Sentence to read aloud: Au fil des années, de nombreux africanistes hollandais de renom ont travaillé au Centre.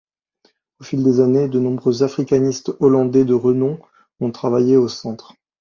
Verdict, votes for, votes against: accepted, 2, 0